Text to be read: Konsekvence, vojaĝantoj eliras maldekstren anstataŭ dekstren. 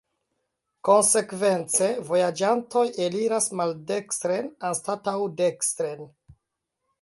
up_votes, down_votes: 2, 1